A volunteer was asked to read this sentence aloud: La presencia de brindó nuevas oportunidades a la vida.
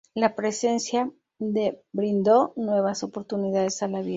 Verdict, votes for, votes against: rejected, 0, 2